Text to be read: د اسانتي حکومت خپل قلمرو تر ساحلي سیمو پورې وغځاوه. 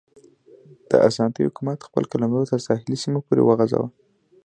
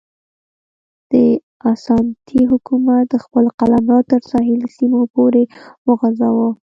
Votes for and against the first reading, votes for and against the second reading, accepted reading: 2, 0, 1, 2, first